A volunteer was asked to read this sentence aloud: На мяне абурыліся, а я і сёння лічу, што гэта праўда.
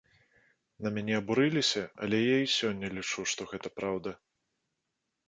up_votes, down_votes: 0, 2